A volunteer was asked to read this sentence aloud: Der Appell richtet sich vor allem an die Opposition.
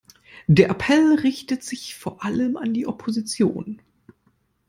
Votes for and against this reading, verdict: 2, 0, accepted